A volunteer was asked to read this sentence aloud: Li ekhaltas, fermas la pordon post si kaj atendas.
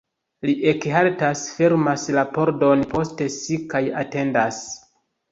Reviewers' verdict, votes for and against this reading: rejected, 0, 2